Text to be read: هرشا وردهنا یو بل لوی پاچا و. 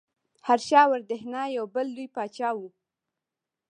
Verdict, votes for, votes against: rejected, 0, 2